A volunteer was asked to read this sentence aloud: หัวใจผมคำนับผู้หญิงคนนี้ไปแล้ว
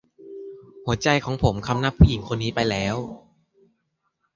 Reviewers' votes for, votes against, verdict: 0, 2, rejected